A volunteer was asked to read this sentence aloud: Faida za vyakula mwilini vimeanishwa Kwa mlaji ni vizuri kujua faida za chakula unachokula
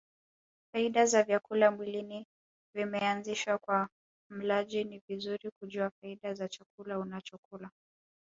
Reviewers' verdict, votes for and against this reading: rejected, 1, 2